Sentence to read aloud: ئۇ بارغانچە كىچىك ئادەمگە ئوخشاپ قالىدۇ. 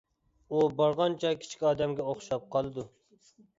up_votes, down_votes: 2, 0